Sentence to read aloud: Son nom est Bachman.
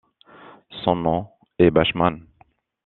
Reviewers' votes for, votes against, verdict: 2, 1, accepted